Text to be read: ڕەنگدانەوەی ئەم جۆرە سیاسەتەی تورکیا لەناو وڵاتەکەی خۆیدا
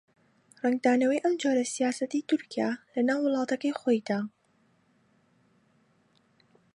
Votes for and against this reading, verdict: 2, 0, accepted